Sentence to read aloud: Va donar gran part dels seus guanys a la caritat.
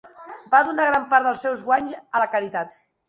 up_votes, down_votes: 2, 0